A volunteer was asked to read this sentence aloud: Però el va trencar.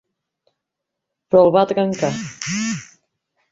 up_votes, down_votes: 0, 2